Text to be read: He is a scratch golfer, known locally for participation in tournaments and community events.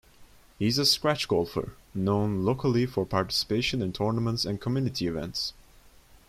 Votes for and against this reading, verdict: 2, 0, accepted